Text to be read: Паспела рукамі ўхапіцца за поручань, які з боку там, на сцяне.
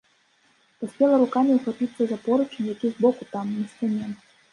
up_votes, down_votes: 0, 3